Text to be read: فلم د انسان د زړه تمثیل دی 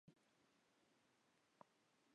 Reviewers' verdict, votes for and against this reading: rejected, 1, 2